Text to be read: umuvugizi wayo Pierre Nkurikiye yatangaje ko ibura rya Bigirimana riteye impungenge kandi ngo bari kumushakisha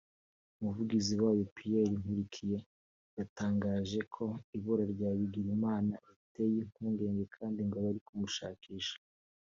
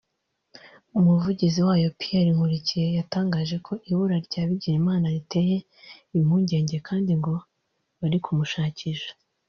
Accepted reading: first